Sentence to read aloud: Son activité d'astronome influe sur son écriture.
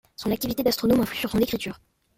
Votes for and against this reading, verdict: 0, 2, rejected